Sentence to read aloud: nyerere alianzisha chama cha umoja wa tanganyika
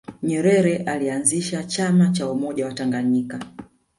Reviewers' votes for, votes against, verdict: 2, 1, accepted